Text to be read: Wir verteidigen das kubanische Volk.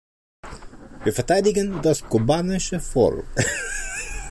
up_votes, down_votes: 2, 1